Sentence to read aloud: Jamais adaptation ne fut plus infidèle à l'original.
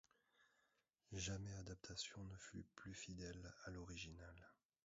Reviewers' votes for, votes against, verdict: 0, 2, rejected